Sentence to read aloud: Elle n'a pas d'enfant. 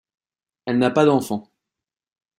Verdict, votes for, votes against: accepted, 2, 1